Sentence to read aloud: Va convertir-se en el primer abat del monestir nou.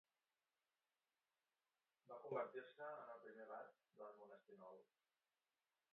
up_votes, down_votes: 1, 2